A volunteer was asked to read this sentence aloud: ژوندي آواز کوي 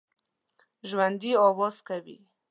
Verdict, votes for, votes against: accepted, 2, 0